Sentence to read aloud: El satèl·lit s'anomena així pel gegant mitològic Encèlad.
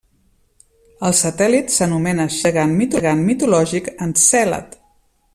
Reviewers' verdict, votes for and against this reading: rejected, 0, 2